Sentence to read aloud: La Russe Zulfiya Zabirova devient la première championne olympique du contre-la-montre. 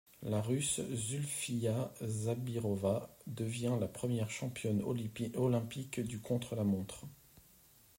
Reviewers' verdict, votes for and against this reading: rejected, 1, 2